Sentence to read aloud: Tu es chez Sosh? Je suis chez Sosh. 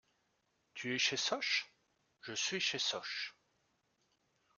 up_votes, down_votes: 2, 0